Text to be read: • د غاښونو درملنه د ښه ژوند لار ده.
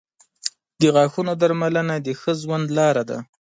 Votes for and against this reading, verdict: 3, 0, accepted